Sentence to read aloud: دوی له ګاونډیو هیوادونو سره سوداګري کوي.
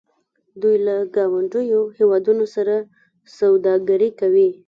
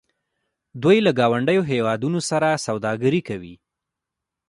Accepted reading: second